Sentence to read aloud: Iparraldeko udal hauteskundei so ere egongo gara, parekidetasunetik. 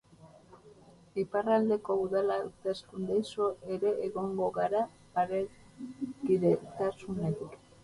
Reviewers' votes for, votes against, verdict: 2, 2, rejected